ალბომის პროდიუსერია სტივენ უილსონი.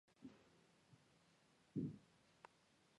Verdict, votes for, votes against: rejected, 1, 2